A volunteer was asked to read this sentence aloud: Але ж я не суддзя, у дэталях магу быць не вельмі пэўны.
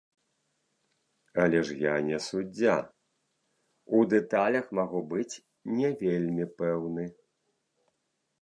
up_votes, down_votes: 2, 0